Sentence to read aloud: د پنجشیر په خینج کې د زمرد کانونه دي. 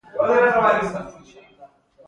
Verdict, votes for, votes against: rejected, 0, 2